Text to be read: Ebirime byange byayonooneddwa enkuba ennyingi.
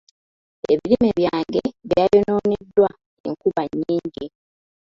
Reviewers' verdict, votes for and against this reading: rejected, 0, 2